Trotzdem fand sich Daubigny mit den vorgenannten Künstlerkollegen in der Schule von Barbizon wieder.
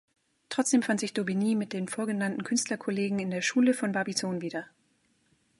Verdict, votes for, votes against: accepted, 2, 0